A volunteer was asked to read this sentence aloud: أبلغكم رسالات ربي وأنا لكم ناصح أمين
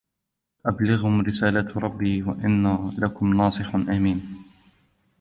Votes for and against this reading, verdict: 0, 2, rejected